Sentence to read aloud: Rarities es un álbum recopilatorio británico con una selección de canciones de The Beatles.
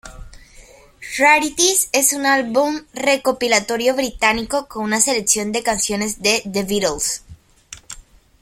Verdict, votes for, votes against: rejected, 1, 2